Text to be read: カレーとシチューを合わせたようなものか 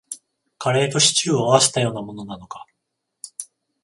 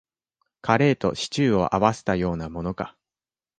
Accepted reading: second